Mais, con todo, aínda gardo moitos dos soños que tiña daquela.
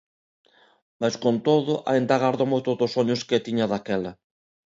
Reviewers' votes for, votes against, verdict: 2, 1, accepted